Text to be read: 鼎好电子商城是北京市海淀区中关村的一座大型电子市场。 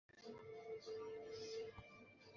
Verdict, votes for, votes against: rejected, 0, 3